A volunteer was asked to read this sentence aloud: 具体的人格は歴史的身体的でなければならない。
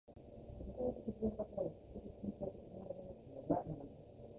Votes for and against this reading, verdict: 1, 2, rejected